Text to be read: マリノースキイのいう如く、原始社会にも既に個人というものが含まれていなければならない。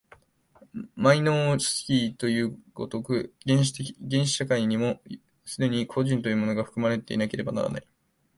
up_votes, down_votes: 0, 2